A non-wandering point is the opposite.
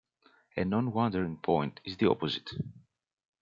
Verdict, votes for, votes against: accepted, 2, 0